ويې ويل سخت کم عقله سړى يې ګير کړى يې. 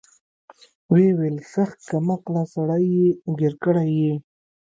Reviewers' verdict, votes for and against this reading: accepted, 2, 0